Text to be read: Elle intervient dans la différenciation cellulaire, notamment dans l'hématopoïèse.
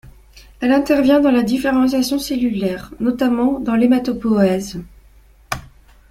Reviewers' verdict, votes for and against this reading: accepted, 2, 1